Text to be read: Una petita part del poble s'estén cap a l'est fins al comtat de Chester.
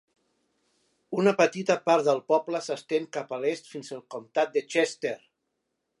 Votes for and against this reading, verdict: 3, 1, accepted